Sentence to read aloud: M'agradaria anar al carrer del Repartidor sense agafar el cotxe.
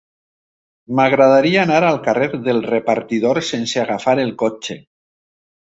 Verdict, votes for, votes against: rejected, 1, 2